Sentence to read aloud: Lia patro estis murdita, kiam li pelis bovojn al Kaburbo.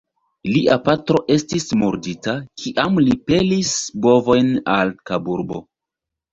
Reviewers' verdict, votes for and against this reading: rejected, 0, 2